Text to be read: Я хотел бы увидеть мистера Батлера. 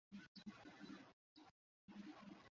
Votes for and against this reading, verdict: 0, 2, rejected